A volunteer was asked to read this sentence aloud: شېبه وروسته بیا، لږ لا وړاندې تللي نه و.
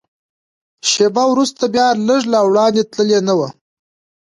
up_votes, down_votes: 0, 2